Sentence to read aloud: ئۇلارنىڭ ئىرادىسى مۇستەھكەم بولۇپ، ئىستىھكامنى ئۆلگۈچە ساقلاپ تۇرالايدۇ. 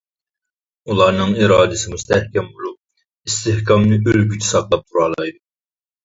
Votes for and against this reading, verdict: 0, 2, rejected